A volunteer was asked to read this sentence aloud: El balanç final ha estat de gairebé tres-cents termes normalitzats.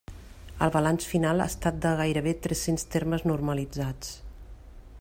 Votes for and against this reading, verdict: 3, 0, accepted